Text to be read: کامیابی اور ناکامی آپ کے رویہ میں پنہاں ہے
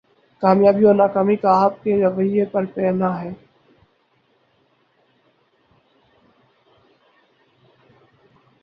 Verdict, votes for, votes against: rejected, 4, 8